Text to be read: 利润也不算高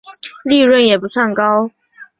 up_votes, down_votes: 2, 0